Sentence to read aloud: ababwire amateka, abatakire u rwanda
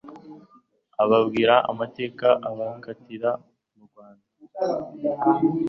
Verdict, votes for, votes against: rejected, 1, 2